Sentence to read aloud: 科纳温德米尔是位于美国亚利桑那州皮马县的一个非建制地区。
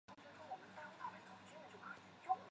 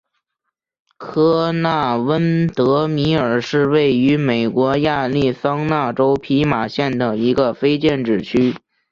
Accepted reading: second